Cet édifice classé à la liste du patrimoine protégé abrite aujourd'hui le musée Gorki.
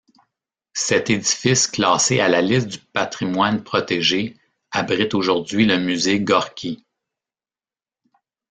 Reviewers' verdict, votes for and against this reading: accepted, 2, 0